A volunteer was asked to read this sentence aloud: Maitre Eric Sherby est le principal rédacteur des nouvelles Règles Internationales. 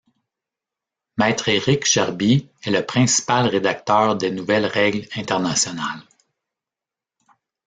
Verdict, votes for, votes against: rejected, 1, 2